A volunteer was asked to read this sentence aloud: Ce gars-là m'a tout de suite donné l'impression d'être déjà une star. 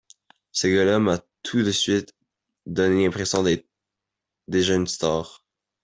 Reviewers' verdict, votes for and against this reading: accepted, 2, 0